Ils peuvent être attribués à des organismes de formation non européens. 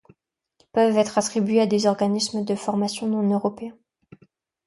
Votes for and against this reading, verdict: 1, 2, rejected